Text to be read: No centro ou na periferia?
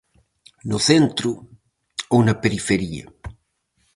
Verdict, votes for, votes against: rejected, 2, 2